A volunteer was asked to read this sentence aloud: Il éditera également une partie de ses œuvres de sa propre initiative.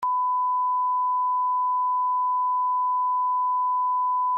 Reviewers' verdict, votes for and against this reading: rejected, 0, 2